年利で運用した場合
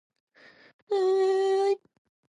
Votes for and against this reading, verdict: 0, 2, rejected